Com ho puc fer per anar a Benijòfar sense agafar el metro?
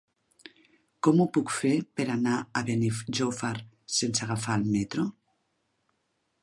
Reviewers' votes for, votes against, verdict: 1, 2, rejected